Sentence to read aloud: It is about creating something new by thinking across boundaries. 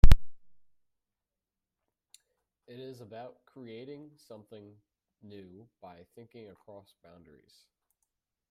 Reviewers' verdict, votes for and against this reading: rejected, 0, 2